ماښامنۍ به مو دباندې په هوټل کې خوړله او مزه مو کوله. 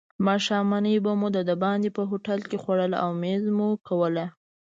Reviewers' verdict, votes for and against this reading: rejected, 1, 2